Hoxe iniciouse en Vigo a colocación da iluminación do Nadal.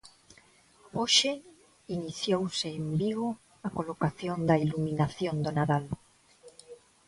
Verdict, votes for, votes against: rejected, 0, 2